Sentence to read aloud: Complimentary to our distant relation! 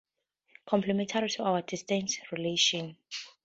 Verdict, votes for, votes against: rejected, 2, 2